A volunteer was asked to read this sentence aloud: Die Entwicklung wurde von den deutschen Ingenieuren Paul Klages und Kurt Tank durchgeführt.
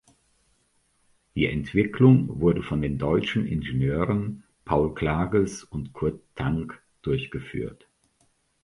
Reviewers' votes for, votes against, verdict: 2, 0, accepted